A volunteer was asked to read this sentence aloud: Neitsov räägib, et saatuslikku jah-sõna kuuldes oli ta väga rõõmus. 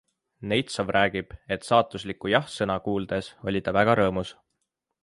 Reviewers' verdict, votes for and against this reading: accepted, 2, 0